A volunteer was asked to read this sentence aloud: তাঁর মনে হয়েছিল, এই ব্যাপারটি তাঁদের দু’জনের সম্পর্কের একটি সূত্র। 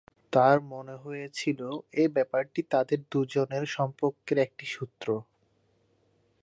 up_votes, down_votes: 1, 2